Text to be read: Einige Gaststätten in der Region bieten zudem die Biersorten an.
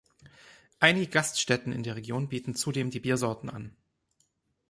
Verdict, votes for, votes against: rejected, 0, 2